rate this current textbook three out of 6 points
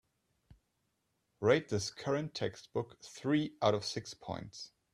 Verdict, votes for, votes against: rejected, 0, 2